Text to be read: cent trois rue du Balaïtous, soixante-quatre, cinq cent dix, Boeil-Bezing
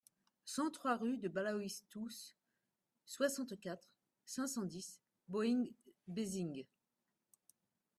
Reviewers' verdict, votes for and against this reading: rejected, 0, 2